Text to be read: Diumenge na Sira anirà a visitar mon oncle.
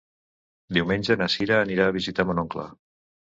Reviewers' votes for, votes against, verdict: 2, 0, accepted